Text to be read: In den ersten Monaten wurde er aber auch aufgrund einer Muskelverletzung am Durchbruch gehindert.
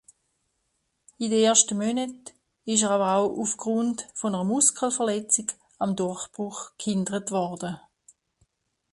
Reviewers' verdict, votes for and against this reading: rejected, 0, 2